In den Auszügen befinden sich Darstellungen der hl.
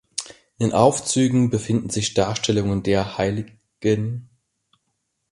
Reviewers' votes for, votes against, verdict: 0, 2, rejected